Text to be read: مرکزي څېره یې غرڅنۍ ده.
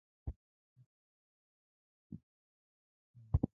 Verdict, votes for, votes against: rejected, 0, 2